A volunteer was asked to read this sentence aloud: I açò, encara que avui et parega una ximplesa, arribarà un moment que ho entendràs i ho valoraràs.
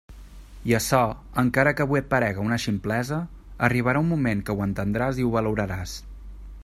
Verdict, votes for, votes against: accepted, 2, 0